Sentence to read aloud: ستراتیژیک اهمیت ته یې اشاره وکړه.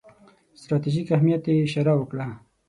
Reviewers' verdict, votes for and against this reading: accepted, 6, 0